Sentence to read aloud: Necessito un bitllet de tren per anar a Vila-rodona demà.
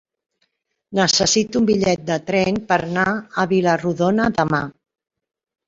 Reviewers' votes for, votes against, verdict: 3, 0, accepted